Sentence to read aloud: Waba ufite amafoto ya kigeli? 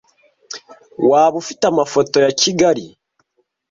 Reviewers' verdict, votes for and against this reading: rejected, 0, 2